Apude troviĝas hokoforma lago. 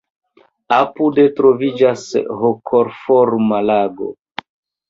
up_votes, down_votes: 2, 0